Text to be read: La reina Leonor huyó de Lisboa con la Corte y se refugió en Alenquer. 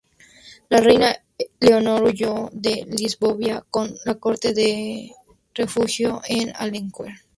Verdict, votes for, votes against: rejected, 0, 2